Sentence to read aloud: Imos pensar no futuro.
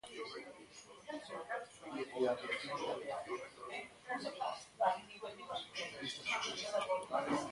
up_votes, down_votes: 0, 2